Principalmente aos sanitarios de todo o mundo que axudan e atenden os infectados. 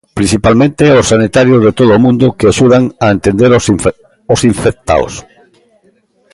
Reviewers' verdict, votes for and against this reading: rejected, 0, 2